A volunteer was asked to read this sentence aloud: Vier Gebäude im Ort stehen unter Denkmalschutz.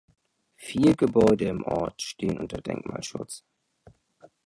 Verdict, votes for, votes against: accepted, 2, 0